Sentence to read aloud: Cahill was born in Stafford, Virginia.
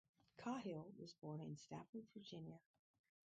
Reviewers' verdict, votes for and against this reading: rejected, 2, 2